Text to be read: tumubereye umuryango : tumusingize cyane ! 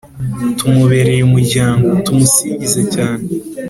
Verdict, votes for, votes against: accepted, 2, 0